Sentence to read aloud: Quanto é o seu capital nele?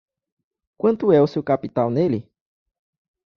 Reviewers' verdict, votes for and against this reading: accepted, 3, 0